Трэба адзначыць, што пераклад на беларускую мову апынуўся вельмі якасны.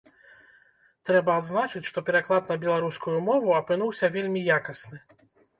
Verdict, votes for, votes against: accepted, 2, 0